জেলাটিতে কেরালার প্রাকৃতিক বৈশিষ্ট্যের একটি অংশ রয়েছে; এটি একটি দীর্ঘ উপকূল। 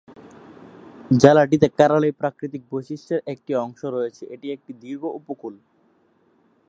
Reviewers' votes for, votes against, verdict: 0, 3, rejected